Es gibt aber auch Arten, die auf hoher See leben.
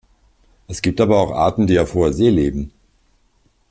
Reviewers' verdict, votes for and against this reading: accepted, 2, 0